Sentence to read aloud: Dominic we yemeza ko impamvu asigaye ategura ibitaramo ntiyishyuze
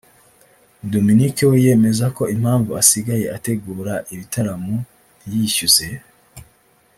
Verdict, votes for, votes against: accepted, 3, 1